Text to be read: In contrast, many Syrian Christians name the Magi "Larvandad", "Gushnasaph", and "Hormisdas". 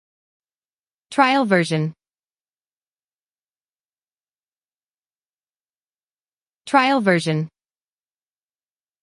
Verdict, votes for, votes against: rejected, 0, 2